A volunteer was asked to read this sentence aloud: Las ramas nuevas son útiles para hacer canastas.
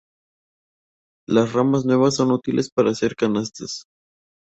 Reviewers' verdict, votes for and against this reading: accepted, 2, 0